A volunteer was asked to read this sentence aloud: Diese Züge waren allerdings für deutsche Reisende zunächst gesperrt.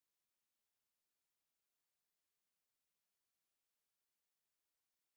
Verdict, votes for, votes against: rejected, 0, 2